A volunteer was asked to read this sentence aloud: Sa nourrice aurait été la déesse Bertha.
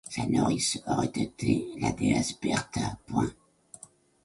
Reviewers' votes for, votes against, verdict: 2, 0, accepted